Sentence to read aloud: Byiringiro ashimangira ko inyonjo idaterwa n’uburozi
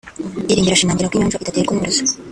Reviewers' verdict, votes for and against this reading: rejected, 0, 4